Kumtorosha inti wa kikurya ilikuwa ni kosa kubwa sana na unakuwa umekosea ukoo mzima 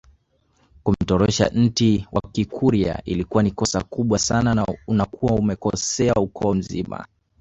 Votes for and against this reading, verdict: 0, 2, rejected